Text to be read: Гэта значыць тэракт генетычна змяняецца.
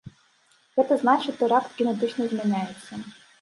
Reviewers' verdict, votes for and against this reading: rejected, 1, 2